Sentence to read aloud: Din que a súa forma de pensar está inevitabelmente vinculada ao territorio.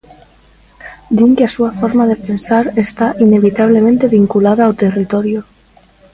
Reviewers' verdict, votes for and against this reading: rejected, 1, 2